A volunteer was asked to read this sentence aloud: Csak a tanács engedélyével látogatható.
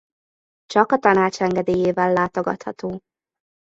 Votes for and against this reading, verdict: 2, 0, accepted